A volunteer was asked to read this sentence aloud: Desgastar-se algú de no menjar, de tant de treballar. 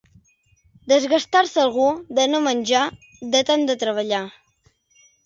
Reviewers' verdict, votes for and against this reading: accepted, 2, 0